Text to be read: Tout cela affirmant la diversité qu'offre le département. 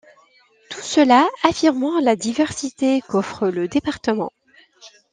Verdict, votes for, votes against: accepted, 2, 1